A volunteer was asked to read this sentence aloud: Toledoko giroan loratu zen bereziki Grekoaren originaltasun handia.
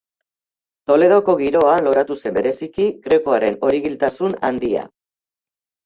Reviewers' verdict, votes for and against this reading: rejected, 0, 2